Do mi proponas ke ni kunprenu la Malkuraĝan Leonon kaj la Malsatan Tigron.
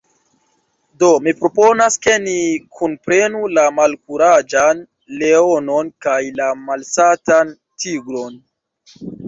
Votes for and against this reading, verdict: 2, 1, accepted